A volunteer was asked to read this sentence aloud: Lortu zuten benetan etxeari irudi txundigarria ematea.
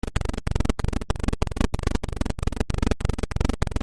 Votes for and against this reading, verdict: 0, 2, rejected